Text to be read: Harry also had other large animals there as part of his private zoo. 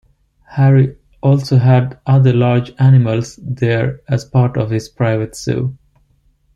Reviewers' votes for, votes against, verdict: 2, 0, accepted